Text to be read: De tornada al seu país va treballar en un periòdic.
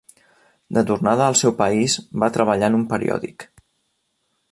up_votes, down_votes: 3, 0